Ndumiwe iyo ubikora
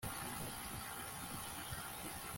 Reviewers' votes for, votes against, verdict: 1, 2, rejected